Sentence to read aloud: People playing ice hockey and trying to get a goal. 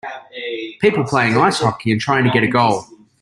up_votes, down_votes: 2, 0